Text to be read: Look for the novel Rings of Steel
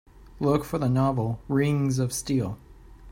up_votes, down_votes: 2, 0